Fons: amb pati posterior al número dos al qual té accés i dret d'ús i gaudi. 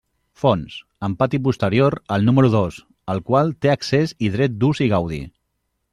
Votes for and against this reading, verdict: 2, 0, accepted